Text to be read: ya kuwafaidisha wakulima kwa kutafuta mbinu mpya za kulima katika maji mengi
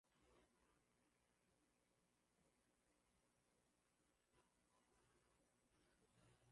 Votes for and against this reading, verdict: 0, 2, rejected